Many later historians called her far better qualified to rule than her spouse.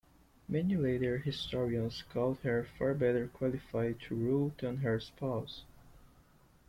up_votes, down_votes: 2, 0